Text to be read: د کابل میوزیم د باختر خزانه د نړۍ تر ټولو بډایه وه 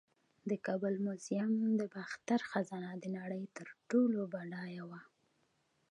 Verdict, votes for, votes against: accepted, 2, 1